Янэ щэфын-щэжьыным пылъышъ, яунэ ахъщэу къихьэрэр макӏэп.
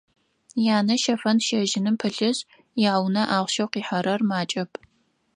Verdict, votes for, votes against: accepted, 4, 0